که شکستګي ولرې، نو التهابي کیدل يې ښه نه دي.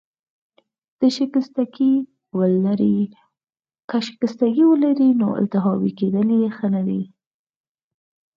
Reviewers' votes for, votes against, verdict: 2, 4, rejected